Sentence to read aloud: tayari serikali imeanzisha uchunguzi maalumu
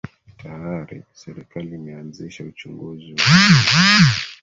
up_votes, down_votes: 0, 2